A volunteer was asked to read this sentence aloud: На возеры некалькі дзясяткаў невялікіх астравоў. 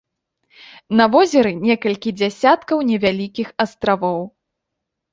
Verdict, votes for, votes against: accepted, 2, 1